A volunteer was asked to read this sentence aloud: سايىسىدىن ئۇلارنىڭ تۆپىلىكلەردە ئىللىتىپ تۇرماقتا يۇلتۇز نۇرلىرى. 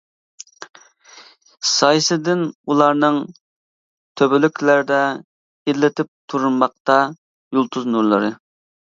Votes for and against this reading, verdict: 2, 1, accepted